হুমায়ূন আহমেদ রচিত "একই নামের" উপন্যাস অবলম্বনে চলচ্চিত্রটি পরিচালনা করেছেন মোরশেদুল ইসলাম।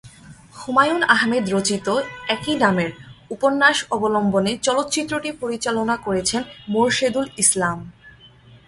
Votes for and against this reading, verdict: 1, 2, rejected